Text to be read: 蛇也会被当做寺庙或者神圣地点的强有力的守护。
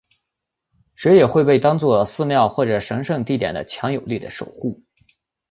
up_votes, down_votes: 2, 0